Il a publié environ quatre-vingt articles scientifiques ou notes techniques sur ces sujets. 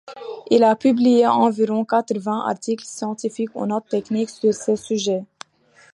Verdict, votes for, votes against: accepted, 2, 0